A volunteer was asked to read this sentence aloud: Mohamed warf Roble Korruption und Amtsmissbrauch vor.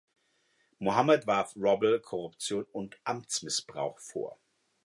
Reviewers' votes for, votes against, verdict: 2, 0, accepted